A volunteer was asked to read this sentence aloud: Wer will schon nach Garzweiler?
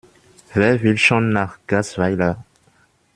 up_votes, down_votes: 1, 2